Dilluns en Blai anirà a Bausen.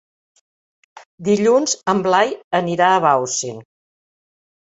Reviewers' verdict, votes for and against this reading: accepted, 2, 0